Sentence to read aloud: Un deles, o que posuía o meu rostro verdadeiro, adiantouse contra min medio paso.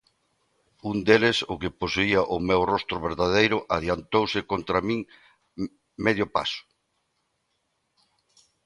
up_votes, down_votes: 2, 1